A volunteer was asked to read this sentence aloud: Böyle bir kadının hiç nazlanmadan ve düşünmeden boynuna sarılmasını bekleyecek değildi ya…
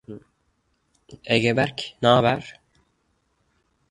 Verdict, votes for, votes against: rejected, 0, 2